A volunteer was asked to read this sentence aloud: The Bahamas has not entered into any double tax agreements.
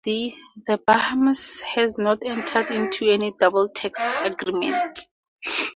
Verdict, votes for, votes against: rejected, 0, 2